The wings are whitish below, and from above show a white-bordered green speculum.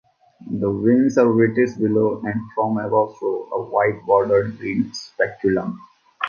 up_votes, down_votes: 2, 0